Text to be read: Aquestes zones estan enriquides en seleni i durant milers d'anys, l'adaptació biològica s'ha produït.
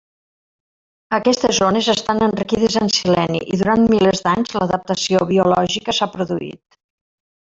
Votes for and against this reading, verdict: 2, 1, accepted